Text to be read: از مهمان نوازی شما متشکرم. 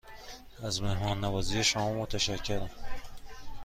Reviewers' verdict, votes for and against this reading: accepted, 2, 0